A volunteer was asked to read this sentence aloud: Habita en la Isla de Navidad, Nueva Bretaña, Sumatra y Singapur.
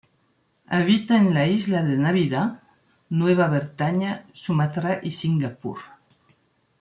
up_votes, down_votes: 0, 2